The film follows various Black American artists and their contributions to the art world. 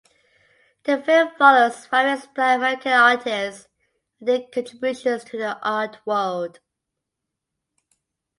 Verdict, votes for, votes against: rejected, 0, 2